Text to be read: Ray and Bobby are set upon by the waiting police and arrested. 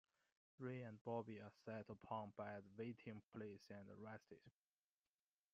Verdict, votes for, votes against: accepted, 2, 0